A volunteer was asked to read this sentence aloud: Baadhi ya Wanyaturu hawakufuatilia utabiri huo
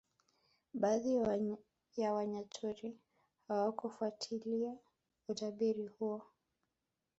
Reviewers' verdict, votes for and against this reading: accepted, 3, 0